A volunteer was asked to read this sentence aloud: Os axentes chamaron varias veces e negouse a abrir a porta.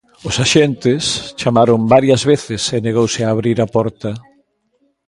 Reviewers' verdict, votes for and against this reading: accepted, 3, 0